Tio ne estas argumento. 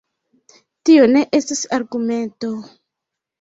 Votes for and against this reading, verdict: 0, 2, rejected